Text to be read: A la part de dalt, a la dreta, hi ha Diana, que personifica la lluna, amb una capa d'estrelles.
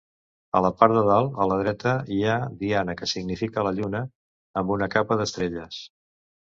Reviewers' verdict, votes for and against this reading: rejected, 1, 2